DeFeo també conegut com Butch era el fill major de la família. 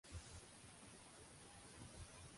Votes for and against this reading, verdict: 0, 2, rejected